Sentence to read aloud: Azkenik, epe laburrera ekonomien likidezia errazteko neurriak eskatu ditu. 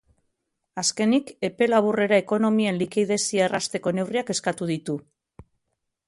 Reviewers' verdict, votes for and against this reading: accepted, 4, 1